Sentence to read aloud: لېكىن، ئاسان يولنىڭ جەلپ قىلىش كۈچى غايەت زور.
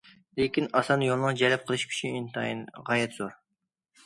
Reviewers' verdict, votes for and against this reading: rejected, 0, 2